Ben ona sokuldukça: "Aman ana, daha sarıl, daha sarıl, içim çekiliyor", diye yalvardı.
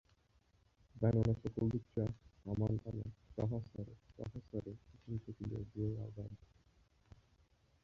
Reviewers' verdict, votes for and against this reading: rejected, 0, 2